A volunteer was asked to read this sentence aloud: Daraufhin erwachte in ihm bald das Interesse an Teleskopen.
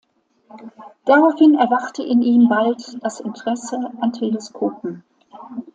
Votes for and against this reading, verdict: 2, 0, accepted